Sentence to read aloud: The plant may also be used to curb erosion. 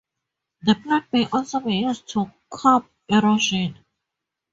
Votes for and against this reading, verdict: 0, 4, rejected